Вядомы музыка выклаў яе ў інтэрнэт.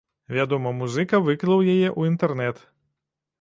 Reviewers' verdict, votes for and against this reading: accepted, 2, 1